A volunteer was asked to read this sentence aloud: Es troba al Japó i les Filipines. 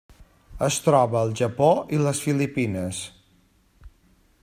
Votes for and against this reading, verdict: 3, 0, accepted